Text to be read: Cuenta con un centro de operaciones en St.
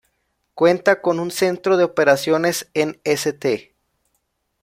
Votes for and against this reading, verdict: 2, 0, accepted